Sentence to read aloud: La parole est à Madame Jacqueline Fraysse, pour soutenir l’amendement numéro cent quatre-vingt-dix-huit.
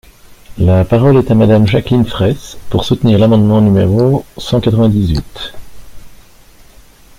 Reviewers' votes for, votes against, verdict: 2, 0, accepted